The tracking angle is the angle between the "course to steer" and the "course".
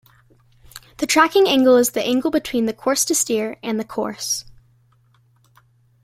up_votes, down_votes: 2, 0